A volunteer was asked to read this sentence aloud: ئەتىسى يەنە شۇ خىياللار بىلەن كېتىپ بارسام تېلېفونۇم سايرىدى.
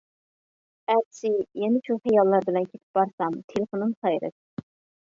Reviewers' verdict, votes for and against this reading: rejected, 0, 2